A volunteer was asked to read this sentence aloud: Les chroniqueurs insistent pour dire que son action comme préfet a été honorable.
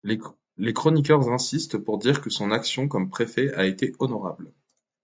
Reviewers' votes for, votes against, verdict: 2, 0, accepted